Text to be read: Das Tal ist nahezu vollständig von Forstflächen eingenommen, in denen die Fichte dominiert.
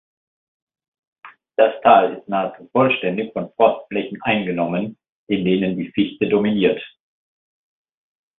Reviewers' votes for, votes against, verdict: 2, 0, accepted